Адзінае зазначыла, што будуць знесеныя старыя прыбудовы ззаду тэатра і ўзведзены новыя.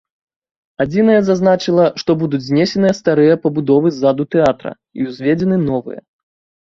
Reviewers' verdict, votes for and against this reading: rejected, 1, 2